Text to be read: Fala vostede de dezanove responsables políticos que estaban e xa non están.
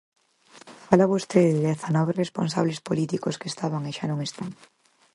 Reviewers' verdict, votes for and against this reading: accepted, 4, 0